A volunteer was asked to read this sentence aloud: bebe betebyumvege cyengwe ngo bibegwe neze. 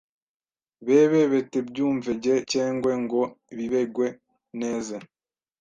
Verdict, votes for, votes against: rejected, 1, 2